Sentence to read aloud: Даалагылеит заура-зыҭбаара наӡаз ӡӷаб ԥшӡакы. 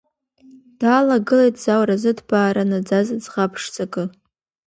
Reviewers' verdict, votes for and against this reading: accepted, 3, 0